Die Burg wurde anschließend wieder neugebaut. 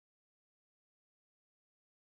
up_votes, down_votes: 0, 2